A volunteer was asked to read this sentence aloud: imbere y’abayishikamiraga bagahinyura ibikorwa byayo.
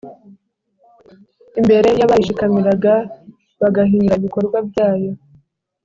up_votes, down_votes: 2, 0